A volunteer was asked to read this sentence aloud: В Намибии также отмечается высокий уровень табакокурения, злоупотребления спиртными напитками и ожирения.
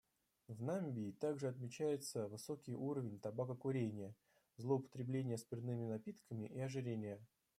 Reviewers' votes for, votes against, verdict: 0, 2, rejected